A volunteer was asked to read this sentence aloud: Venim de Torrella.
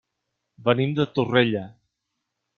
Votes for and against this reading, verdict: 3, 0, accepted